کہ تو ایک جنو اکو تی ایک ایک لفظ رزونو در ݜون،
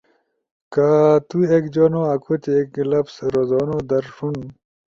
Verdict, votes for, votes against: accepted, 2, 0